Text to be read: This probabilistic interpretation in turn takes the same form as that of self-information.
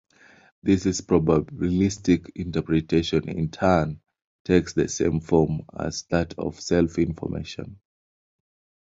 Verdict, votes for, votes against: rejected, 1, 2